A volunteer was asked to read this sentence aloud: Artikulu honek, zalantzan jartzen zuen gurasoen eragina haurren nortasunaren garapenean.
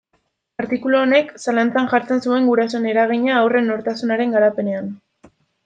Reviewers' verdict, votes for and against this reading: rejected, 0, 2